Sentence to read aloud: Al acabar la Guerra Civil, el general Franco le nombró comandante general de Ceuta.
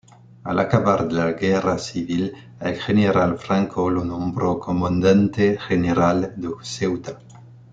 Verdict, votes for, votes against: rejected, 1, 2